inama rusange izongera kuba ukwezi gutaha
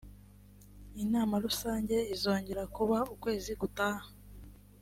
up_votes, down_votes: 3, 0